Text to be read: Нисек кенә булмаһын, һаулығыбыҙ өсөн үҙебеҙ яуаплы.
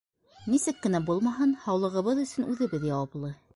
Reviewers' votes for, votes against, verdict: 2, 0, accepted